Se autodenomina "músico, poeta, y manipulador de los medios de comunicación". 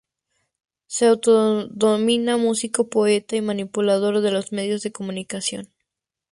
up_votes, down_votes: 4, 0